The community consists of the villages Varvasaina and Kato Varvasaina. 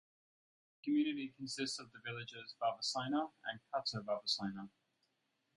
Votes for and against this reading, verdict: 4, 0, accepted